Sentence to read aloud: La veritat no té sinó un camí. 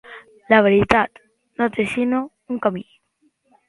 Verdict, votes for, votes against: accepted, 2, 0